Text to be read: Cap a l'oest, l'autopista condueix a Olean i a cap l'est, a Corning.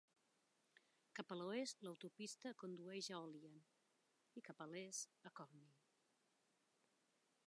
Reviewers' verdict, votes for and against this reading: rejected, 1, 2